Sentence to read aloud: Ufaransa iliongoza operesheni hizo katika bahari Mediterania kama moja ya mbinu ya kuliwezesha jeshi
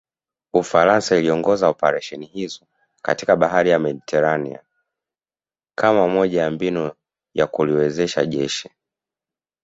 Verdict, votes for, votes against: accepted, 2, 0